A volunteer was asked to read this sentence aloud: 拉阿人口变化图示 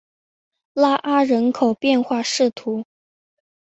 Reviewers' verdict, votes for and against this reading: rejected, 0, 2